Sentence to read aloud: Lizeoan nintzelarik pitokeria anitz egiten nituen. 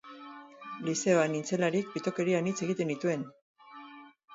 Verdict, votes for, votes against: accepted, 4, 0